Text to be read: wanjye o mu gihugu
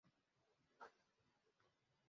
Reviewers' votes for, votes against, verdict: 0, 2, rejected